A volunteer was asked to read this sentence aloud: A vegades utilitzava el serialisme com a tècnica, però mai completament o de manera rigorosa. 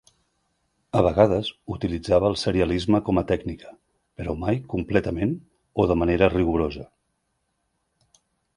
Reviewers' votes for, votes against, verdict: 3, 0, accepted